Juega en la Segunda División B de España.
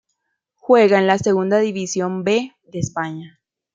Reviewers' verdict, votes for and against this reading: accepted, 2, 0